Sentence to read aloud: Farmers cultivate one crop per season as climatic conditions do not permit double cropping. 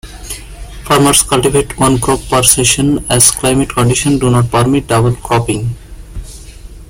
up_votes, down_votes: 2, 1